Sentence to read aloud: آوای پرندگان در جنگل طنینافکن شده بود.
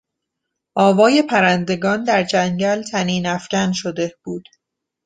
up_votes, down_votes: 2, 0